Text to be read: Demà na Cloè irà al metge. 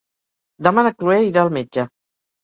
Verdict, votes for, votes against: rejected, 2, 4